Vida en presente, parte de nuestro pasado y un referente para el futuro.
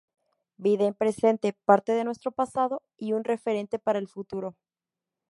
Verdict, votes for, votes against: accepted, 2, 0